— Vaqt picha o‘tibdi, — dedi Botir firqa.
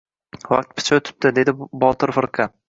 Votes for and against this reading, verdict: 1, 2, rejected